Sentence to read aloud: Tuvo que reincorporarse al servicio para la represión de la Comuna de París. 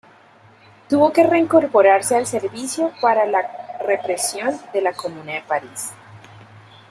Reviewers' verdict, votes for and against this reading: rejected, 1, 2